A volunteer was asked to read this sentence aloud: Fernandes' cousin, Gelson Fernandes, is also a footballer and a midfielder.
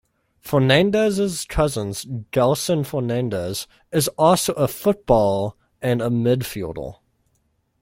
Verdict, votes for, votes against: rejected, 1, 2